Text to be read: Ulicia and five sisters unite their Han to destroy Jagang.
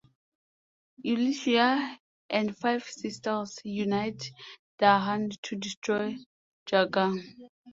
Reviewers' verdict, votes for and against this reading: accepted, 2, 1